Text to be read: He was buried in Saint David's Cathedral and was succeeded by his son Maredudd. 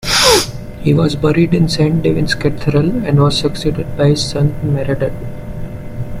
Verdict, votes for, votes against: rejected, 0, 2